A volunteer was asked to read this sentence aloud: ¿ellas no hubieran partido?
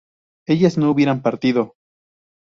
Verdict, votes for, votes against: rejected, 0, 2